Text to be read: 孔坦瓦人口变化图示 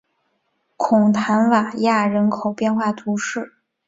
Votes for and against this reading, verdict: 3, 2, accepted